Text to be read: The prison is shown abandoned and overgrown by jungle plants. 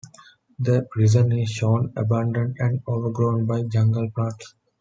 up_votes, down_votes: 2, 0